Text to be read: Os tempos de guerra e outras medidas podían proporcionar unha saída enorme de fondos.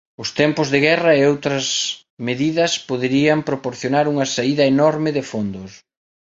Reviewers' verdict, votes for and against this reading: rejected, 0, 2